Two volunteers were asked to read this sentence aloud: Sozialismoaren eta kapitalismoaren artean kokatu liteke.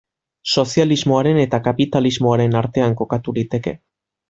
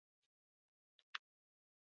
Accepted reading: first